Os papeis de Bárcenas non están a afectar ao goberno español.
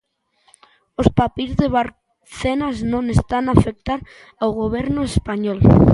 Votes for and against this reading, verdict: 0, 3, rejected